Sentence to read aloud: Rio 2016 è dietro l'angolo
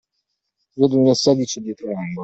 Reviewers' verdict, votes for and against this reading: rejected, 0, 2